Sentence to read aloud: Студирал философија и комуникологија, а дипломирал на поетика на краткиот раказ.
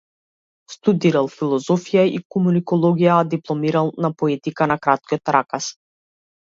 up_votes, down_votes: 2, 0